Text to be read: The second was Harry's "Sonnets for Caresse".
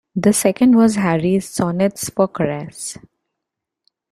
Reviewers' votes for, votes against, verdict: 2, 0, accepted